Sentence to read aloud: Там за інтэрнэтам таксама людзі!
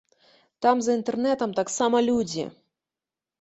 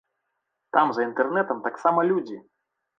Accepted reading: first